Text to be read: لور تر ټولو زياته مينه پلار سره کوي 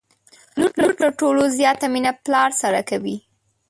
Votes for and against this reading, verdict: 0, 2, rejected